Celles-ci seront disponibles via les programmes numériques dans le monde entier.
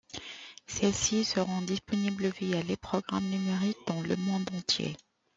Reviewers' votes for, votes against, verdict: 1, 2, rejected